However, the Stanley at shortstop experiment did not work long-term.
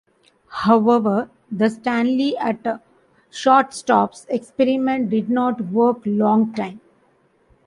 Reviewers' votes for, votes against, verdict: 0, 2, rejected